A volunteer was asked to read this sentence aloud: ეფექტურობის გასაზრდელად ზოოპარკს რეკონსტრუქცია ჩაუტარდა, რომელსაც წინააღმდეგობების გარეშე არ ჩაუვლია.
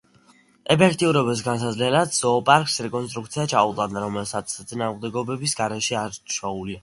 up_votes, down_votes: 2, 0